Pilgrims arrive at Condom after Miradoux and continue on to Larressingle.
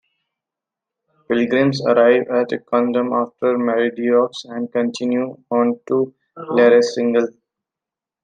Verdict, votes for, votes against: accepted, 2, 1